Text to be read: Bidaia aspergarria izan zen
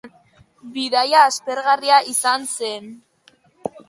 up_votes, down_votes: 2, 0